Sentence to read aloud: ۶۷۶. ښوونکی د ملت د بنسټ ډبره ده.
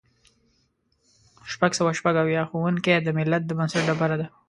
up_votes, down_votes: 0, 2